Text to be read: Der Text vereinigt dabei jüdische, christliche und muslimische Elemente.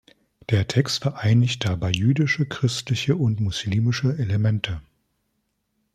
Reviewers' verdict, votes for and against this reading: accepted, 2, 0